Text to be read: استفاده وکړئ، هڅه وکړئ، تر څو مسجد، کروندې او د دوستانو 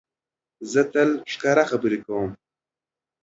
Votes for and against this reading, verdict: 0, 2, rejected